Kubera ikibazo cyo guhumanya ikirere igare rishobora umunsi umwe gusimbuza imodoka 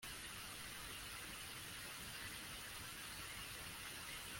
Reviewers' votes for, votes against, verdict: 0, 2, rejected